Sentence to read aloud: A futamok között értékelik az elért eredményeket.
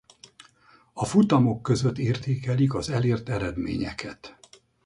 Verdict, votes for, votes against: accepted, 4, 0